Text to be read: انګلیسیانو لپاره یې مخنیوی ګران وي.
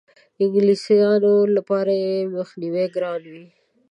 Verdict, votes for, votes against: accepted, 2, 0